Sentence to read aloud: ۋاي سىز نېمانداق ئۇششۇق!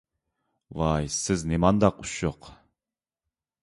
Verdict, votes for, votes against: accepted, 2, 0